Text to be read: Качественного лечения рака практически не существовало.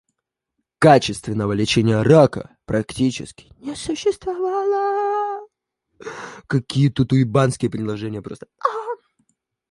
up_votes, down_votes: 1, 2